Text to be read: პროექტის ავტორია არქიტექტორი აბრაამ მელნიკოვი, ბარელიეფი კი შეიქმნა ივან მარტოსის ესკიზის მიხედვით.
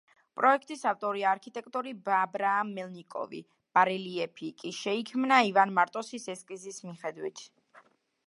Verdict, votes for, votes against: rejected, 1, 2